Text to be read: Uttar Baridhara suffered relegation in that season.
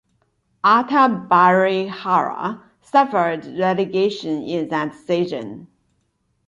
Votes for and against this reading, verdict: 0, 2, rejected